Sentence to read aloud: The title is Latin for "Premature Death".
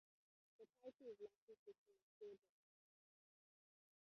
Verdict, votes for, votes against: rejected, 0, 2